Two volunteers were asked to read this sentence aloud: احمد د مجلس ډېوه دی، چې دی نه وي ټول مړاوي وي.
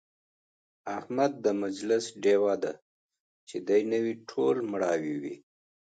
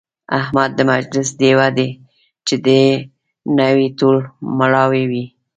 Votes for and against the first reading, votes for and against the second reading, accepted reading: 2, 0, 1, 2, first